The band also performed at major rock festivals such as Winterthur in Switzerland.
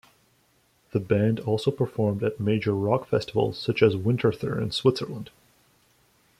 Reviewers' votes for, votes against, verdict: 2, 0, accepted